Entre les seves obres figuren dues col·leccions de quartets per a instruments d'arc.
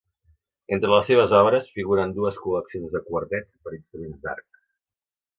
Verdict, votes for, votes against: accepted, 2, 0